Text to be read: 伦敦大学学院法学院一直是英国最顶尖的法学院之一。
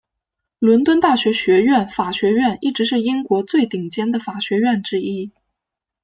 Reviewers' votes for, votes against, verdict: 2, 0, accepted